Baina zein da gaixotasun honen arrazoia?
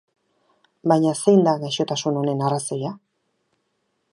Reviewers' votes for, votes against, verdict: 4, 0, accepted